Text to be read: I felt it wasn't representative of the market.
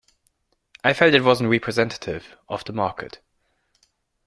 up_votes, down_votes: 1, 2